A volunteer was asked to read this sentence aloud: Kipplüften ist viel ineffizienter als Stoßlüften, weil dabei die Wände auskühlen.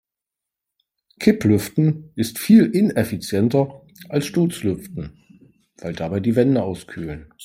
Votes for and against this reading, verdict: 1, 3, rejected